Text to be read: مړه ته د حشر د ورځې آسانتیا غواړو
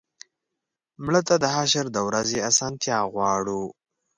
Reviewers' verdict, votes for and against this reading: accepted, 2, 0